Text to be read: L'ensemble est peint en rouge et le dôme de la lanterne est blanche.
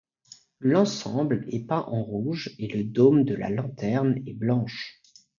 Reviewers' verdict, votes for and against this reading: accepted, 2, 0